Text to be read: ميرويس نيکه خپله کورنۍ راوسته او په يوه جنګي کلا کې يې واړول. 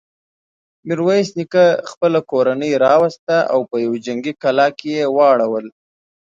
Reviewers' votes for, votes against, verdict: 2, 0, accepted